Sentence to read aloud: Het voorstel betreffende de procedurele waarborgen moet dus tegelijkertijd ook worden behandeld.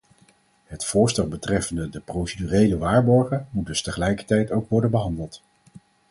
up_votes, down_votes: 4, 0